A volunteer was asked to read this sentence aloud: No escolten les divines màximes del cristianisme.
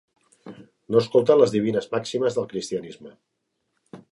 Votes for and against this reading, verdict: 3, 0, accepted